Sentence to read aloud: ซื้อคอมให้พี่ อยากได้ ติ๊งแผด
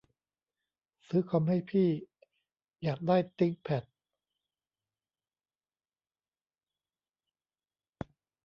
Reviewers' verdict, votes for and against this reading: rejected, 1, 2